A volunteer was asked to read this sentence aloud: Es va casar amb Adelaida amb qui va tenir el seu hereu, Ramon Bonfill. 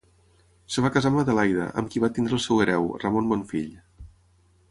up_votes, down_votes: 3, 6